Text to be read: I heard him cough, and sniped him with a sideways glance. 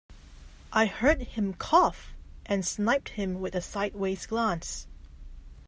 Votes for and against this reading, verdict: 0, 2, rejected